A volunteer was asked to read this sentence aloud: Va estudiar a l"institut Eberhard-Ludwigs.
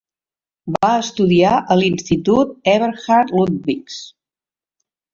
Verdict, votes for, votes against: accepted, 2, 0